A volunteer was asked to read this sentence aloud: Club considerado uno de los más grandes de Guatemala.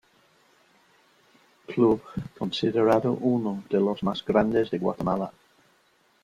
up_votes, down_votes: 2, 1